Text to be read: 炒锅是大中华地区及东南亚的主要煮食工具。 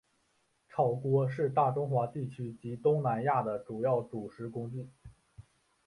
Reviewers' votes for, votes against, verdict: 4, 1, accepted